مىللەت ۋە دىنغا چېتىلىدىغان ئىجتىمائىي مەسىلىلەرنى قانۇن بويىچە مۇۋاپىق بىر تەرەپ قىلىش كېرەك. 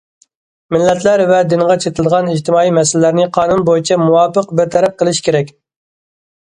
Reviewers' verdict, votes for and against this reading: rejected, 0, 2